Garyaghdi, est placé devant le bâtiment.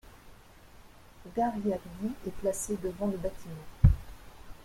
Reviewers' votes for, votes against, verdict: 0, 2, rejected